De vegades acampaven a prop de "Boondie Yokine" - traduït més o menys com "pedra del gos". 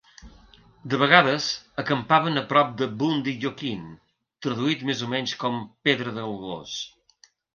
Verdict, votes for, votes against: accepted, 2, 0